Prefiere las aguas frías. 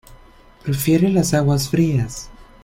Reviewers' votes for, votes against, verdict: 2, 1, accepted